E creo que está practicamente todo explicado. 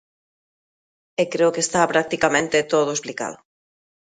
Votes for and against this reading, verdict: 2, 0, accepted